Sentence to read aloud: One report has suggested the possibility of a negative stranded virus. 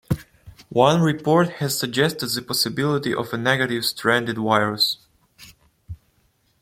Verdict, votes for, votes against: accepted, 2, 0